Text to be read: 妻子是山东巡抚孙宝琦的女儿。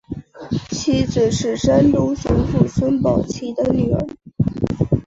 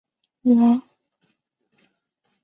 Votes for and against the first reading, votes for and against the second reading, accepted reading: 7, 0, 0, 2, first